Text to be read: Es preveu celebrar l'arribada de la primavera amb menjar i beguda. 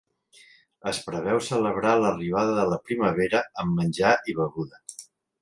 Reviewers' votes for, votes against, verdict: 3, 0, accepted